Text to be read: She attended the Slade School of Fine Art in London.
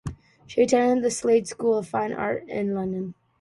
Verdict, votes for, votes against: accepted, 2, 0